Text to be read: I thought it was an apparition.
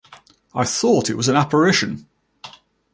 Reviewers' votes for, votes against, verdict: 1, 2, rejected